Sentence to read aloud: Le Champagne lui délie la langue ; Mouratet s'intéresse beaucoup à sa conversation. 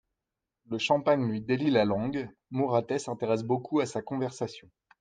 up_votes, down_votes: 2, 0